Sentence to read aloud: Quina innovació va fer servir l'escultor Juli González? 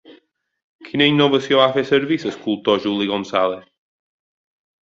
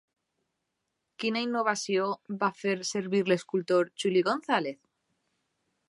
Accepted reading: second